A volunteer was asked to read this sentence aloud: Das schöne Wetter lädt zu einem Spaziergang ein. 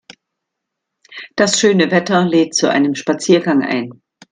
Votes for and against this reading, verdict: 2, 0, accepted